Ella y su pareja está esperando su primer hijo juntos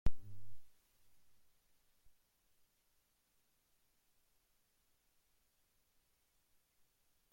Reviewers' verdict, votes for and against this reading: rejected, 0, 2